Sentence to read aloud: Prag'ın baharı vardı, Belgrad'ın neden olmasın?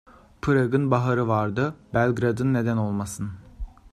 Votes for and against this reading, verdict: 2, 0, accepted